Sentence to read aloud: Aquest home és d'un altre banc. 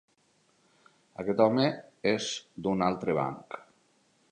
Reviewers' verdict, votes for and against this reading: accepted, 3, 0